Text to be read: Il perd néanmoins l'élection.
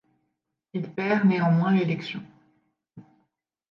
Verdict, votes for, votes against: accepted, 2, 0